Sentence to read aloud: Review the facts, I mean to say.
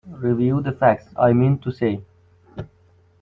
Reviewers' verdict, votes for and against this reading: accepted, 2, 0